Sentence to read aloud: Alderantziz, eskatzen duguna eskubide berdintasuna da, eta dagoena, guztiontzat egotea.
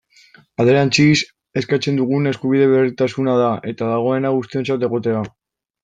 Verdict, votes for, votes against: rejected, 0, 2